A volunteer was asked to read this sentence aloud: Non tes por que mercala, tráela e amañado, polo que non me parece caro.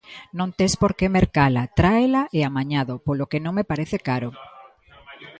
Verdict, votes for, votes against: accepted, 2, 0